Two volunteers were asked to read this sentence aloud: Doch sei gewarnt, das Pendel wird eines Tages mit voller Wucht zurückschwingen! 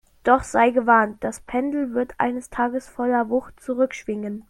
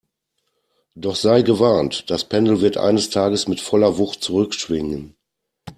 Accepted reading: second